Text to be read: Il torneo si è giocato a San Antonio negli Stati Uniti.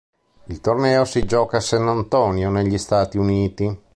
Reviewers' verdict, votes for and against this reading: rejected, 1, 2